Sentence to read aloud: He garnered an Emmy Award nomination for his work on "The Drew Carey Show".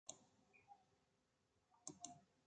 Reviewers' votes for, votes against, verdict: 0, 2, rejected